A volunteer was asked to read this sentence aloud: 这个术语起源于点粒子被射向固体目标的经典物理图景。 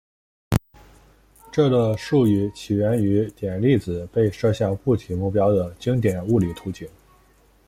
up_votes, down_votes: 3, 0